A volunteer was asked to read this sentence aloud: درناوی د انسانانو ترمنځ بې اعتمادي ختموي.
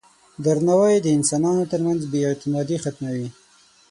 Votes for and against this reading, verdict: 6, 9, rejected